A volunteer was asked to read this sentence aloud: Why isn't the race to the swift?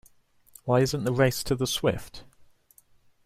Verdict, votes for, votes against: accepted, 2, 0